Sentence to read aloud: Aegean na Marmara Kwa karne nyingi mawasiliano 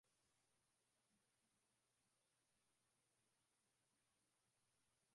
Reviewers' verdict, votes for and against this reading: rejected, 0, 2